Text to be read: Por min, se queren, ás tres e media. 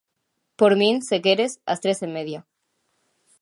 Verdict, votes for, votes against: rejected, 0, 2